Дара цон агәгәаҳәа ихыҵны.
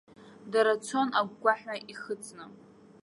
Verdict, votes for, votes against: accepted, 2, 0